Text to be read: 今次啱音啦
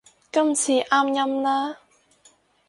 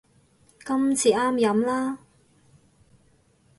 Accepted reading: first